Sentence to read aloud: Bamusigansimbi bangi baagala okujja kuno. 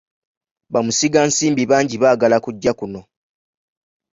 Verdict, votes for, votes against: rejected, 0, 2